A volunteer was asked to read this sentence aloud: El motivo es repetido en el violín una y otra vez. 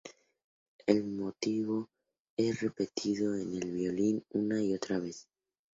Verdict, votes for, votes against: accepted, 2, 0